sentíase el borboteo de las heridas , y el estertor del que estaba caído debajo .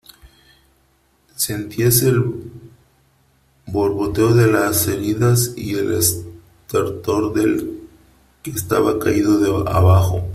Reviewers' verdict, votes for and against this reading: rejected, 0, 3